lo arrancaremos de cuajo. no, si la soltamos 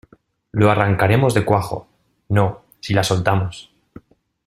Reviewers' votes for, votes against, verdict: 2, 0, accepted